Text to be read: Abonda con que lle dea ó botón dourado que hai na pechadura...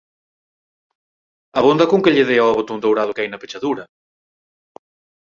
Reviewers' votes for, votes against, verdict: 4, 0, accepted